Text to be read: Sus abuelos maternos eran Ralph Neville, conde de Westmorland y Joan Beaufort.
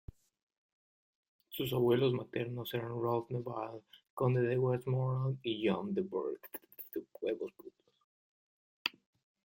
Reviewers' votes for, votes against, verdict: 0, 2, rejected